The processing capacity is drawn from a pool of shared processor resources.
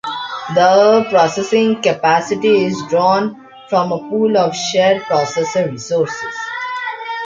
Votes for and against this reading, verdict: 2, 1, accepted